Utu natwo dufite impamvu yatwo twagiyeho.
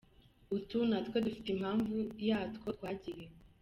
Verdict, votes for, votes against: rejected, 1, 2